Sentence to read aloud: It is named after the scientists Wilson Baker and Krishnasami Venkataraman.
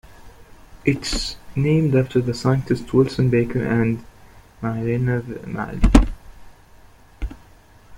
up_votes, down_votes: 1, 2